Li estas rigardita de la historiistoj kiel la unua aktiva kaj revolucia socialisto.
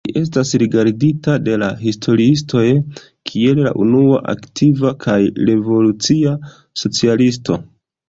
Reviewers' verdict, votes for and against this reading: accepted, 2, 0